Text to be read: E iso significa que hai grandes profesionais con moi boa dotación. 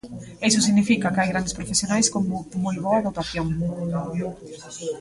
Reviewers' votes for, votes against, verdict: 0, 2, rejected